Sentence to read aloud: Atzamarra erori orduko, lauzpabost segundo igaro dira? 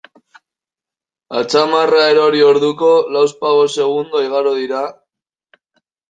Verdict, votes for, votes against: rejected, 0, 2